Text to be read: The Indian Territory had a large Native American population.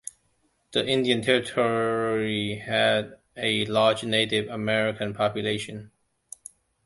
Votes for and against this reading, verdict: 2, 1, accepted